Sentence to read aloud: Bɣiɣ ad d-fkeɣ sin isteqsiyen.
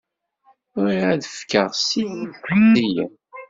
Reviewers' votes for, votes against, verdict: 0, 2, rejected